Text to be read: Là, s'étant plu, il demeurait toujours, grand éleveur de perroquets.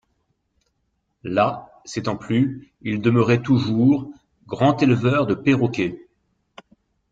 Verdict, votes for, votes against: accepted, 2, 0